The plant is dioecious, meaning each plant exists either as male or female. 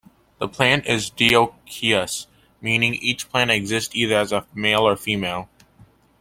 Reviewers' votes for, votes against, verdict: 1, 2, rejected